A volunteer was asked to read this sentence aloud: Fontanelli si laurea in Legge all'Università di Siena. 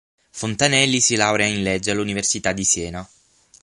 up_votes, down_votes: 6, 0